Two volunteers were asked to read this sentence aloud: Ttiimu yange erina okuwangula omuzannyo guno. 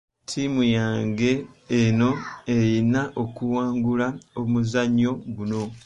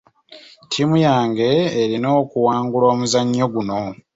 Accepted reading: second